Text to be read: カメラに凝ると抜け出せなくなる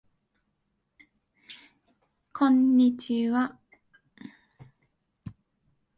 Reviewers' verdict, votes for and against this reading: rejected, 2, 11